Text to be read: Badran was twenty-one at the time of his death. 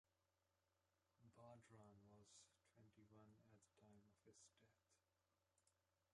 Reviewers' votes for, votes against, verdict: 0, 2, rejected